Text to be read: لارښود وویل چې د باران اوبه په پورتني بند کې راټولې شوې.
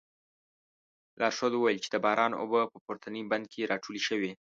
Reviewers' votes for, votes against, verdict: 2, 0, accepted